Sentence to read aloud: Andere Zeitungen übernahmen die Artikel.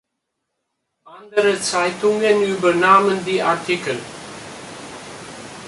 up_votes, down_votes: 2, 0